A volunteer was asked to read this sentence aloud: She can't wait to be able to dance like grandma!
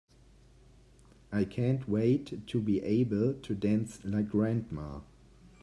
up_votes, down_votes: 0, 2